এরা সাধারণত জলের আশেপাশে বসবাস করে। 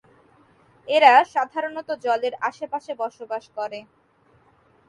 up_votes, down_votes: 2, 0